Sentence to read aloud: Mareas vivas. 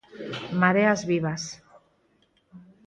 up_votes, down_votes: 6, 0